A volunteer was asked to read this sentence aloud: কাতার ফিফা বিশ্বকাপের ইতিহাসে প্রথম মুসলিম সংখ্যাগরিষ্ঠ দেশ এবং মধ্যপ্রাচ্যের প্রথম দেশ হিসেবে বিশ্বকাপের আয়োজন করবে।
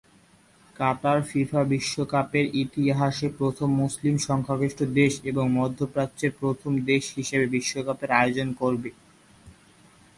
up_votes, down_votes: 12, 3